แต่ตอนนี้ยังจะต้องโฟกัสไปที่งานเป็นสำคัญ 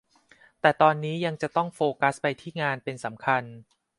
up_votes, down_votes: 2, 0